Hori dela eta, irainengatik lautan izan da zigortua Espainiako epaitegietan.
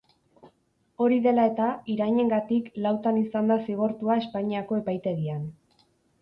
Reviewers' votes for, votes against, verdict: 0, 4, rejected